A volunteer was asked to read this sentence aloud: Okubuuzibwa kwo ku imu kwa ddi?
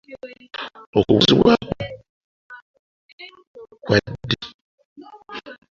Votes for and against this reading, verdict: 0, 2, rejected